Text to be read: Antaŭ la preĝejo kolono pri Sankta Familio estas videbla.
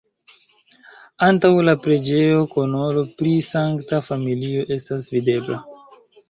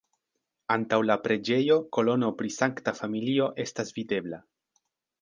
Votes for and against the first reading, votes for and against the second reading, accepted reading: 0, 2, 2, 0, second